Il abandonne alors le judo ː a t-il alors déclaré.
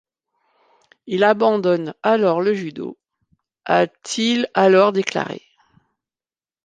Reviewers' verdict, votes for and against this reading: accepted, 2, 0